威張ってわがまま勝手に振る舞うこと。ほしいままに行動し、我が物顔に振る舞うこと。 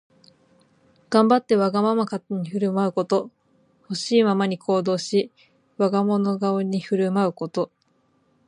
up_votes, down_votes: 0, 4